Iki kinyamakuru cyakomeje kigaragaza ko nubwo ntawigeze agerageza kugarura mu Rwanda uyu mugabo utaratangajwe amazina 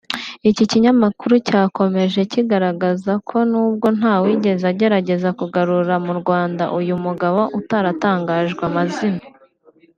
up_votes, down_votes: 2, 0